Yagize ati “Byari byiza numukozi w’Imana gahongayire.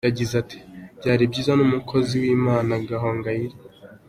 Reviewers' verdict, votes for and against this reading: accepted, 3, 0